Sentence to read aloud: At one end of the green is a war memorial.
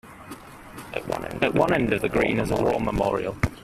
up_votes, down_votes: 0, 2